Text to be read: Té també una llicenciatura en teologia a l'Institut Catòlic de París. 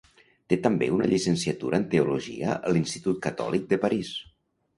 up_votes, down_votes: 2, 0